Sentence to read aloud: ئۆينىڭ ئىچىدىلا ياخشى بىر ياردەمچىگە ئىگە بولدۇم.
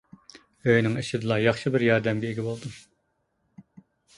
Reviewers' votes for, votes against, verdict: 1, 2, rejected